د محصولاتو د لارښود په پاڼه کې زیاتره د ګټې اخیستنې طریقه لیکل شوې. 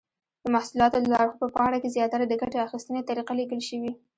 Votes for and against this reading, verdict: 0, 2, rejected